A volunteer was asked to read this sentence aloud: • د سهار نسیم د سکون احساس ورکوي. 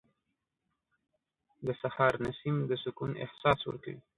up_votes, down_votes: 2, 0